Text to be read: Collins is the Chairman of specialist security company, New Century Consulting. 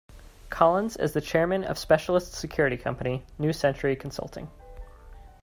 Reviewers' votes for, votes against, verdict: 2, 0, accepted